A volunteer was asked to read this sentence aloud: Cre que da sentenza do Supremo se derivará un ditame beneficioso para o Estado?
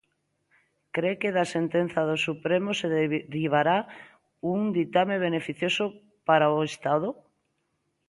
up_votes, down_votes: 0, 2